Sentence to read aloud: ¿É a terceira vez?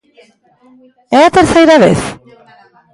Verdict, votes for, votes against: accepted, 2, 0